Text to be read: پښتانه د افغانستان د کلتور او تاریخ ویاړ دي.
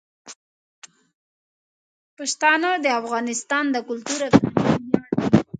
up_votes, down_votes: 1, 2